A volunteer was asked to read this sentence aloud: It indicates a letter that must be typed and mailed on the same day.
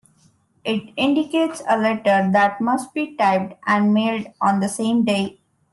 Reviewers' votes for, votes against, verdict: 2, 0, accepted